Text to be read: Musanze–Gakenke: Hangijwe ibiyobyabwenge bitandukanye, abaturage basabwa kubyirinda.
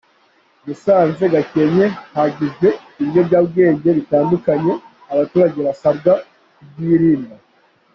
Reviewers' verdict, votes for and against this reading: accepted, 2, 1